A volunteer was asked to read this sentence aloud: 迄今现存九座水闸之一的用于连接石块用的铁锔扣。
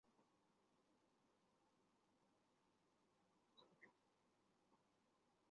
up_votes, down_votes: 0, 4